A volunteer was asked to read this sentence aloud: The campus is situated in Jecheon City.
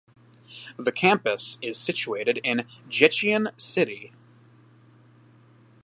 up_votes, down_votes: 2, 0